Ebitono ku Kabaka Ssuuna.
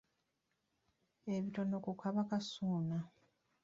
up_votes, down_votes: 2, 0